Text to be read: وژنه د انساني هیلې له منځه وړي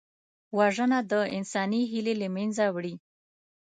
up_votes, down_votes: 2, 0